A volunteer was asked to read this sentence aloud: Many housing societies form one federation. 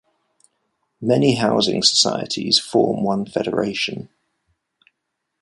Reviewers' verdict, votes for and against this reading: accepted, 2, 0